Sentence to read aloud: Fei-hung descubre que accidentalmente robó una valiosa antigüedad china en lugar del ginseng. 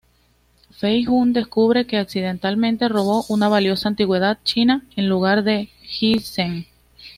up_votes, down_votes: 2, 0